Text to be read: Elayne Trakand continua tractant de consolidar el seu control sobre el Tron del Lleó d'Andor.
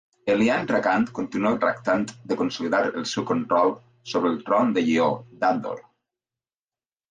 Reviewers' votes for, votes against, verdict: 1, 2, rejected